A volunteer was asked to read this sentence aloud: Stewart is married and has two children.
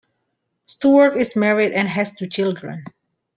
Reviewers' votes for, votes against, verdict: 2, 0, accepted